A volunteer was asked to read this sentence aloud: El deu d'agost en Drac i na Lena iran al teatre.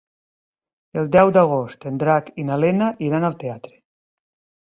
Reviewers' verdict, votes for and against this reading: accepted, 3, 0